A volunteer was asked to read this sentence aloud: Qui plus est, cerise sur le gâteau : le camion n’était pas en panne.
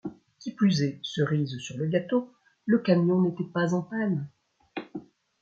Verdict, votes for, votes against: accepted, 2, 1